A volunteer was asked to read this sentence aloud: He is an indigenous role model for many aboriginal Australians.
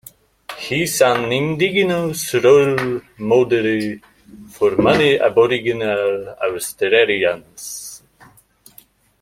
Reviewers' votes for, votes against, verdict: 2, 1, accepted